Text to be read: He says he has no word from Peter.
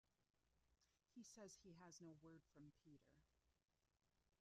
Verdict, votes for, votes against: rejected, 1, 2